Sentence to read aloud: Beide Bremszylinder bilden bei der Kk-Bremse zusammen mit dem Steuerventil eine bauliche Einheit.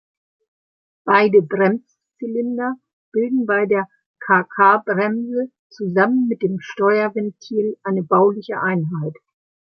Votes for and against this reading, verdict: 1, 2, rejected